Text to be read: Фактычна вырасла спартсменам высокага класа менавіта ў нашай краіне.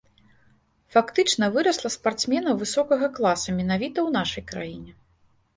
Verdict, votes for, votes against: accepted, 2, 0